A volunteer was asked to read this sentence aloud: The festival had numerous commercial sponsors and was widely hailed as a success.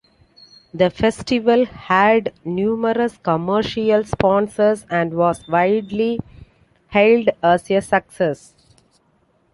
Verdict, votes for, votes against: accepted, 2, 1